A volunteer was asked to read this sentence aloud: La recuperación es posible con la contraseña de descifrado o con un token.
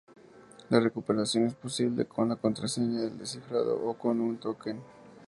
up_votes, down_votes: 2, 0